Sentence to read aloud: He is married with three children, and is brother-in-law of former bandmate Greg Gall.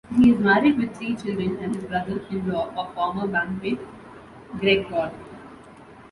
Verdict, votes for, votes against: rejected, 1, 2